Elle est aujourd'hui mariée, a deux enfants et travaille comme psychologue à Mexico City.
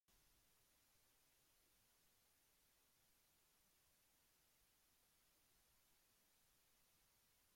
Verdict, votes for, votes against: rejected, 0, 2